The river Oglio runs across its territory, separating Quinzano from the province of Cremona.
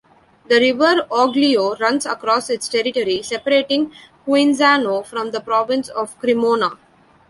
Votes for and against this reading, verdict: 1, 2, rejected